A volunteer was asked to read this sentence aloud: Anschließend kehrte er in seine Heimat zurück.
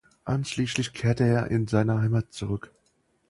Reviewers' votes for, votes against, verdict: 0, 4, rejected